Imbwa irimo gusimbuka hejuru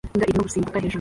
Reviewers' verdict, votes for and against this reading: rejected, 1, 2